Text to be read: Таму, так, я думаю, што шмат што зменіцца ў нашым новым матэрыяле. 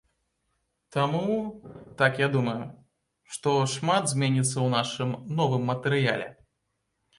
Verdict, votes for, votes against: rejected, 0, 2